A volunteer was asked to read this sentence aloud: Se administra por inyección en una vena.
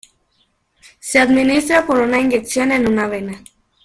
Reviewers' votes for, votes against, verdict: 0, 2, rejected